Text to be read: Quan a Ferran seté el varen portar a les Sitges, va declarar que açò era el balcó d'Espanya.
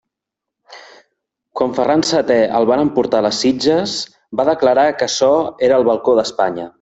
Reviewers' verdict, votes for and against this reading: rejected, 0, 2